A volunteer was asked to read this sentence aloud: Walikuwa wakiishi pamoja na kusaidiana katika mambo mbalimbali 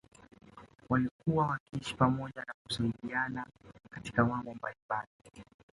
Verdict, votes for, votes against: rejected, 0, 2